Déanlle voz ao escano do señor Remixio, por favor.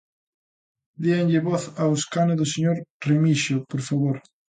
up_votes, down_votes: 2, 0